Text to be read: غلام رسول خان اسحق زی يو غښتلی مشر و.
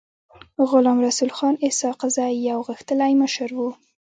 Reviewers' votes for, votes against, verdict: 2, 0, accepted